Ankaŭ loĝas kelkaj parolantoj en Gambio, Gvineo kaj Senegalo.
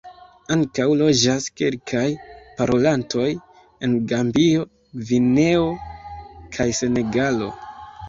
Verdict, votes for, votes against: rejected, 1, 2